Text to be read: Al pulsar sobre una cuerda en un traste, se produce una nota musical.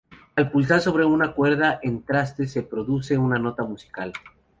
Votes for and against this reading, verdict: 2, 0, accepted